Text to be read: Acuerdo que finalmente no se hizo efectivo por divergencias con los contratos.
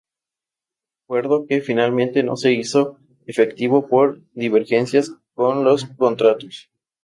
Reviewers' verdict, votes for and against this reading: accepted, 2, 0